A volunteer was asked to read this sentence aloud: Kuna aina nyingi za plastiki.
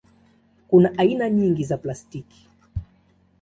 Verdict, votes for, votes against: accepted, 2, 0